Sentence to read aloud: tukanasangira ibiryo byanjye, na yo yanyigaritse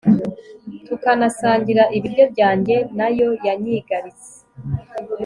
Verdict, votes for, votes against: accepted, 3, 0